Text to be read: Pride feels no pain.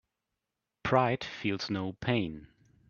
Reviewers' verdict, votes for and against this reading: accepted, 3, 0